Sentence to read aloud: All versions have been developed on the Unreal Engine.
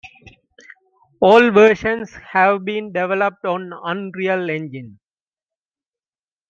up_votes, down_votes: 0, 2